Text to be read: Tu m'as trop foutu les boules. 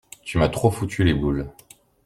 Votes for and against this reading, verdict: 2, 0, accepted